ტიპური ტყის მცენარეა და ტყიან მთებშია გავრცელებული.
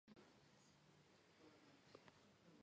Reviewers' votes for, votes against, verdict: 1, 2, rejected